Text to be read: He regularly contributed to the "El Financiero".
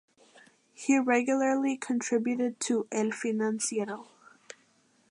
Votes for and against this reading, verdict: 0, 2, rejected